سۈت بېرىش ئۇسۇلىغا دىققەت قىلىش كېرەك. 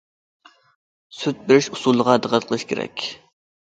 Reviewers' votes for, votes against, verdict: 2, 0, accepted